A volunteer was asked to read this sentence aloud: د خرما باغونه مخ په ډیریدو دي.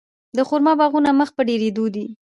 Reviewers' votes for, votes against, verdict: 1, 2, rejected